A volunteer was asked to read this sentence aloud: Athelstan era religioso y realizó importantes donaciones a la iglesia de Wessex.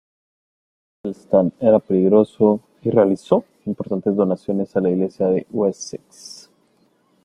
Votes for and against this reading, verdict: 0, 2, rejected